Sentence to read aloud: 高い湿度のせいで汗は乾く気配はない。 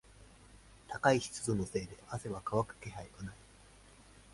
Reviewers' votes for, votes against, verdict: 0, 2, rejected